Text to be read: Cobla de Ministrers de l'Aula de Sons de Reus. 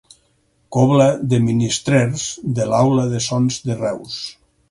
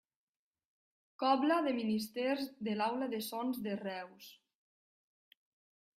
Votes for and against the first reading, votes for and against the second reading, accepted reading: 6, 0, 1, 2, first